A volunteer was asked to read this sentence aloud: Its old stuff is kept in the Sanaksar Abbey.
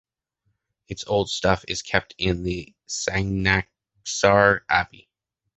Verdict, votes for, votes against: accepted, 2, 1